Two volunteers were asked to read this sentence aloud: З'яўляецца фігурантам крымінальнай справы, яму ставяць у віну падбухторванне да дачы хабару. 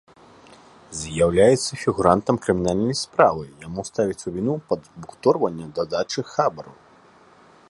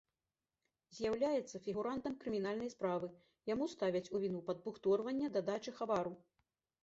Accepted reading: first